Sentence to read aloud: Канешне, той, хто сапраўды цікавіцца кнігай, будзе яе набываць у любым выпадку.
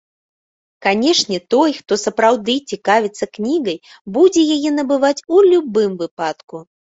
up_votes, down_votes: 1, 2